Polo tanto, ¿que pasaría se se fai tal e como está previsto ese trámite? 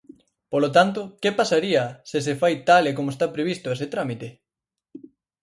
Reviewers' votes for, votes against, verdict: 4, 0, accepted